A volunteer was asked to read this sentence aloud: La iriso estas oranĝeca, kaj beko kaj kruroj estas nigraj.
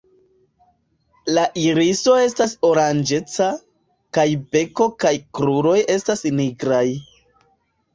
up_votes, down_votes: 1, 2